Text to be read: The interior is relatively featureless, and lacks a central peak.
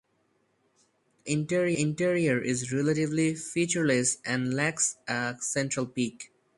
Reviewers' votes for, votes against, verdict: 0, 4, rejected